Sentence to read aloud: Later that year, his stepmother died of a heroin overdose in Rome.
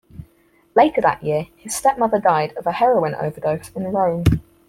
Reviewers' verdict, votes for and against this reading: accepted, 4, 0